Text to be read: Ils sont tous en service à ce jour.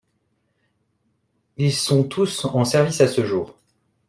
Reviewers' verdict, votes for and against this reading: accepted, 2, 0